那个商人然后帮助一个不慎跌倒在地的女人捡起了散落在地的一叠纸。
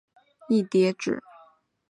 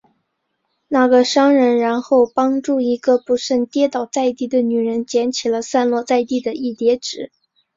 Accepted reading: second